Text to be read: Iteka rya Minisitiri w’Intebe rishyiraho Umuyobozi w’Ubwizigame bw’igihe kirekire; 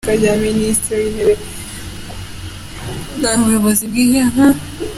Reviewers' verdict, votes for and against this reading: rejected, 1, 2